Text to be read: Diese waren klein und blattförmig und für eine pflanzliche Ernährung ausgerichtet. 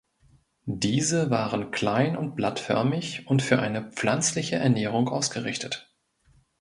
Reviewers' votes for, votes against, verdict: 2, 0, accepted